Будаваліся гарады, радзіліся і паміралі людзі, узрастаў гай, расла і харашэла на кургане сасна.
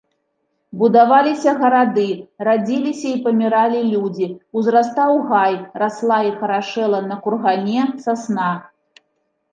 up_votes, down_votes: 3, 0